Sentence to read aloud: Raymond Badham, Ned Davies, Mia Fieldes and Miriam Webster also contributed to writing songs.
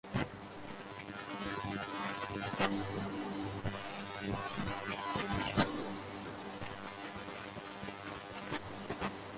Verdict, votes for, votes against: rejected, 0, 4